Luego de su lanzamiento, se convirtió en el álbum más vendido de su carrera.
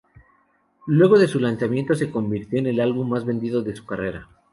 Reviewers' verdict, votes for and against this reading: accepted, 2, 0